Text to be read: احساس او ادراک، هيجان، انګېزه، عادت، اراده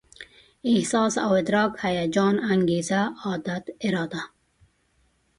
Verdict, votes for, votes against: accepted, 2, 0